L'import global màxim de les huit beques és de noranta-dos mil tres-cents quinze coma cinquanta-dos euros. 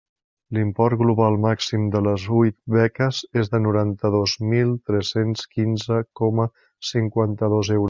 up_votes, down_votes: 1, 2